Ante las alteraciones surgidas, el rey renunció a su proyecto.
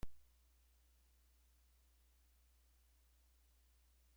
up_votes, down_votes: 0, 2